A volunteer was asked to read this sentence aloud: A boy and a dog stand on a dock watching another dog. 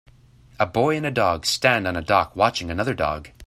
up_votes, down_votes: 2, 0